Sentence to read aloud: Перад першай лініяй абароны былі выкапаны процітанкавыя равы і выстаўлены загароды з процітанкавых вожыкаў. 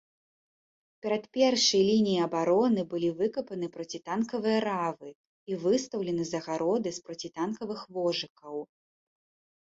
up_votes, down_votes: 0, 2